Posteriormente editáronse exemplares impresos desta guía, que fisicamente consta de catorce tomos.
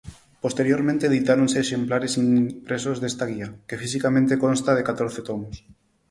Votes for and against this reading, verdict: 0, 4, rejected